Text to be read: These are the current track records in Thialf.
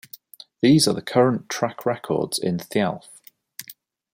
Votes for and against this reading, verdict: 2, 0, accepted